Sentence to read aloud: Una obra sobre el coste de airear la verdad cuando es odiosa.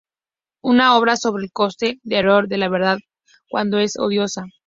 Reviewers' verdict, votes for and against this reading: accepted, 2, 0